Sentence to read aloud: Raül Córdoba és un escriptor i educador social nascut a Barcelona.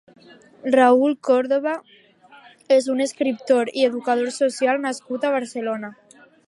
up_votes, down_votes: 3, 0